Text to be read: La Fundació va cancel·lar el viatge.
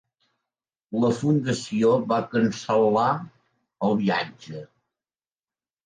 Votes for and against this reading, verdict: 3, 0, accepted